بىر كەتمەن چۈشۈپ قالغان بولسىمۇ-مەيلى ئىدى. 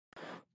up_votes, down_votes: 0, 2